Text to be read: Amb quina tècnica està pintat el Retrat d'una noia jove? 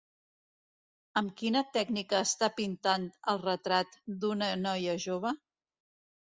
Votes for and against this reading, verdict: 1, 2, rejected